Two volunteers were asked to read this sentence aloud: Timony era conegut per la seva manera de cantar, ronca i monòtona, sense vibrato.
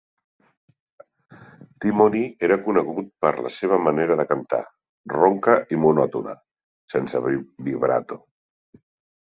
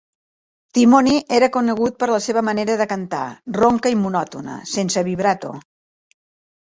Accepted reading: second